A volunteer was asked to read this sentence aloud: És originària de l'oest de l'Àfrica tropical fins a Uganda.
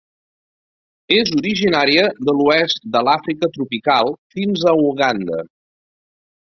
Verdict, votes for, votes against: accepted, 2, 0